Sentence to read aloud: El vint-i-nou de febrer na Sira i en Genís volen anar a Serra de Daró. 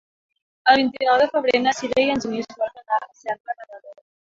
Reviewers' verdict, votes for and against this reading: rejected, 0, 2